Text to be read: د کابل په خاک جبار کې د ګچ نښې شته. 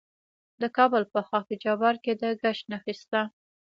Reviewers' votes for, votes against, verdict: 2, 0, accepted